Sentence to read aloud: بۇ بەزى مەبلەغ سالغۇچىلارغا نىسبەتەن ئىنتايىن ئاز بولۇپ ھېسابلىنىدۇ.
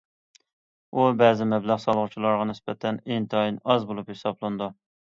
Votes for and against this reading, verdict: 2, 1, accepted